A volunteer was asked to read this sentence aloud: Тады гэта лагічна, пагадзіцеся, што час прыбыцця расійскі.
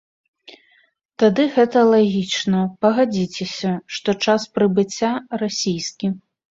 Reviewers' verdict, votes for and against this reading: accepted, 2, 0